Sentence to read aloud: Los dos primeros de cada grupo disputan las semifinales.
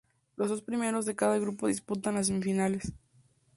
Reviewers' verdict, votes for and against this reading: accepted, 2, 0